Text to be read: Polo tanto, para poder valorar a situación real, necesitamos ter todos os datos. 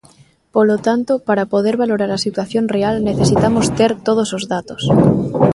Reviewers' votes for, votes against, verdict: 1, 2, rejected